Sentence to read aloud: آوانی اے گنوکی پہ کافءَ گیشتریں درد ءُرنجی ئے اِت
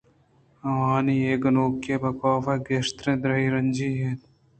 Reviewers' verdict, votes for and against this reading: rejected, 1, 2